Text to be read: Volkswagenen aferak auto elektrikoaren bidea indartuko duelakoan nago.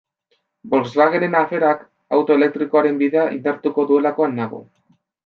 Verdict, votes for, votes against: accepted, 2, 0